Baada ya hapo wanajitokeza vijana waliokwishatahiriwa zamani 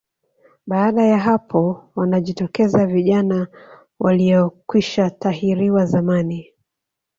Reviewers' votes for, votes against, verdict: 1, 2, rejected